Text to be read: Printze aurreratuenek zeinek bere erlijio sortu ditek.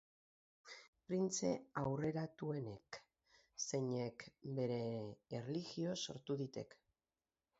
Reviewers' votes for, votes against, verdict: 2, 2, rejected